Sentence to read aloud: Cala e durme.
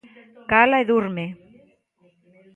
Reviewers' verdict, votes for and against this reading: accepted, 2, 1